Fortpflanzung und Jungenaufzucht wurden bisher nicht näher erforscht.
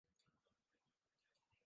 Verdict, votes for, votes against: rejected, 0, 2